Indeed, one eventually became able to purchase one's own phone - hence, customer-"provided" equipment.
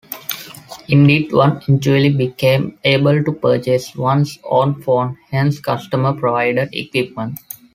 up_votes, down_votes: 2, 1